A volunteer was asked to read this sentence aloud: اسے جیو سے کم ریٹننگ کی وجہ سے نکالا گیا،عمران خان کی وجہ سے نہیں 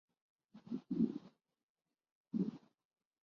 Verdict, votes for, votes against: rejected, 0, 4